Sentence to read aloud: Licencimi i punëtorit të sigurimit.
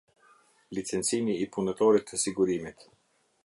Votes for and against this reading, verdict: 2, 0, accepted